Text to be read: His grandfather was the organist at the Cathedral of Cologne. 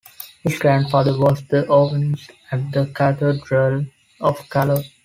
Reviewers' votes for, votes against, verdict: 1, 2, rejected